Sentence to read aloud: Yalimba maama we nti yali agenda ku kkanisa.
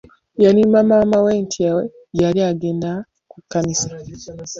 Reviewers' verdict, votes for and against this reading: accepted, 2, 1